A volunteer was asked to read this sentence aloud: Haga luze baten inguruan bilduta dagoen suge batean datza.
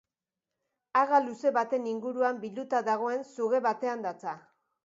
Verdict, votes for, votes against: accepted, 2, 0